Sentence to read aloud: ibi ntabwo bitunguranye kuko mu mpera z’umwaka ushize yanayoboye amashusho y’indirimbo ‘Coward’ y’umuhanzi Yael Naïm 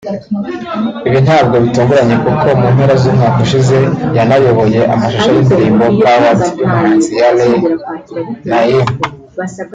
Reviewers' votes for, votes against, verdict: 1, 2, rejected